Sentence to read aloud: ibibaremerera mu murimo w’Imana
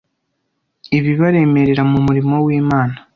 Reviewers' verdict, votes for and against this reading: accepted, 2, 0